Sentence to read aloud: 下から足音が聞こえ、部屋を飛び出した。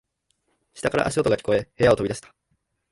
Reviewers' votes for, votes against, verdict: 3, 0, accepted